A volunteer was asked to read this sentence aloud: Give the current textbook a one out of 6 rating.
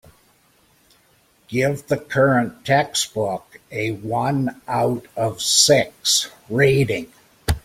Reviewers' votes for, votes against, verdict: 0, 2, rejected